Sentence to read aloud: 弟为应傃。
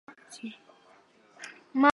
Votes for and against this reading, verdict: 0, 3, rejected